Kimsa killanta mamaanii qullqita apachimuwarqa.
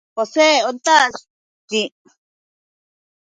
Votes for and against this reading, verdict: 0, 2, rejected